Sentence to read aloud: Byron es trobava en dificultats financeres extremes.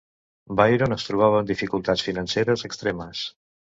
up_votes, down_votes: 2, 0